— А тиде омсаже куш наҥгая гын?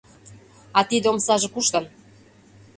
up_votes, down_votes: 0, 3